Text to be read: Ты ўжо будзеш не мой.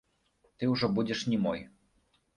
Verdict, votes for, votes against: accepted, 2, 0